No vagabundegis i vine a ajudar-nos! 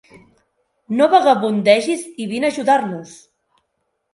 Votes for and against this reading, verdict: 4, 0, accepted